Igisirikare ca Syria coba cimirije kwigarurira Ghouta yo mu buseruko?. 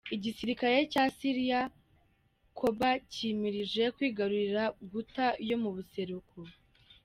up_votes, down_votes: 2, 1